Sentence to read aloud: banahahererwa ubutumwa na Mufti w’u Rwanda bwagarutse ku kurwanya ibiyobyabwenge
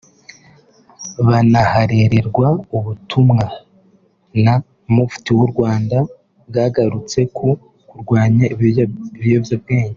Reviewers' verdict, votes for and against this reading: rejected, 0, 2